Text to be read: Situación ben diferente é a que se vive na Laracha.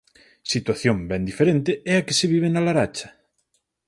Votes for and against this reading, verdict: 4, 0, accepted